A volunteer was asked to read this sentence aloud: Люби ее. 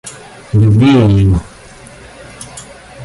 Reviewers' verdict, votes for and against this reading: accepted, 2, 0